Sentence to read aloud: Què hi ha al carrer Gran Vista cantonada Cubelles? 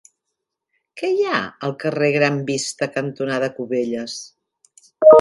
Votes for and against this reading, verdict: 3, 0, accepted